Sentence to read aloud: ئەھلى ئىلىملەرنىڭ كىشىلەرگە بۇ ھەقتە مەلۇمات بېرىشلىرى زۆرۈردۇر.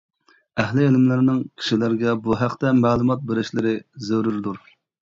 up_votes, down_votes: 2, 0